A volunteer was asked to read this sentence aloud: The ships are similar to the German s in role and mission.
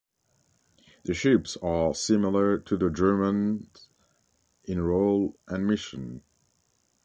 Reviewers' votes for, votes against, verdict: 1, 2, rejected